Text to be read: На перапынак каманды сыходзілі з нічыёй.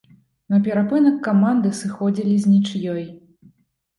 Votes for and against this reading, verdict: 2, 0, accepted